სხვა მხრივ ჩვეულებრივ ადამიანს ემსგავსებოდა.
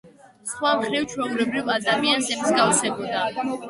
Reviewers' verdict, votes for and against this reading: rejected, 1, 2